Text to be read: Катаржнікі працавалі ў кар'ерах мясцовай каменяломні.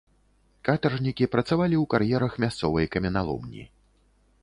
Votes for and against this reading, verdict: 2, 0, accepted